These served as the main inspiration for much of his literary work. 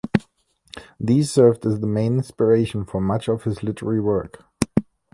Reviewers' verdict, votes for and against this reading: accepted, 2, 0